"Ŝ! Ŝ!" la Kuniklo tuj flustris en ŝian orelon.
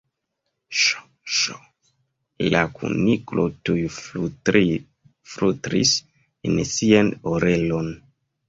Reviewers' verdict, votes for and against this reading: rejected, 1, 2